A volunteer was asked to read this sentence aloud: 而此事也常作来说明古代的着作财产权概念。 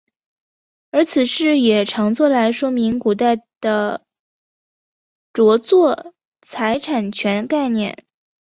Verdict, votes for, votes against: accepted, 4, 0